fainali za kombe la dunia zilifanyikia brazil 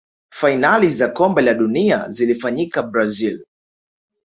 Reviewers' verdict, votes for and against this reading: rejected, 0, 2